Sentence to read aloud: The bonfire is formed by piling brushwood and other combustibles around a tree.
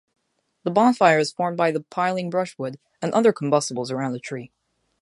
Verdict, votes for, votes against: rejected, 0, 2